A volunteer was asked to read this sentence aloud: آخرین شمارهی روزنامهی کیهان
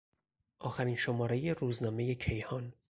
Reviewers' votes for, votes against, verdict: 4, 0, accepted